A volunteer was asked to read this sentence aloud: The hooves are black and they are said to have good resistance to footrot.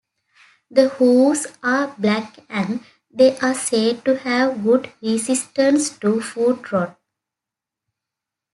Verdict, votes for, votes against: accepted, 2, 0